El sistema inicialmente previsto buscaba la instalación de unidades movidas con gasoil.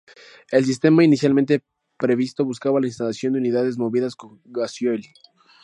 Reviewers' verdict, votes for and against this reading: rejected, 0, 2